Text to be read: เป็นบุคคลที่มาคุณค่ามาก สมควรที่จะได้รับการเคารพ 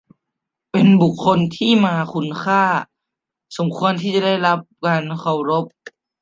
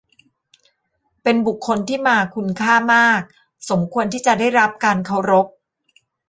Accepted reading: second